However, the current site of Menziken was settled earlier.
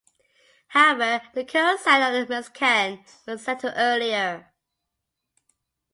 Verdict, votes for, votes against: rejected, 0, 2